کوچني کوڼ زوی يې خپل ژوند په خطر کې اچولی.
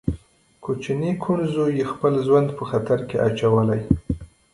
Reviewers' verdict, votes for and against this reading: rejected, 1, 2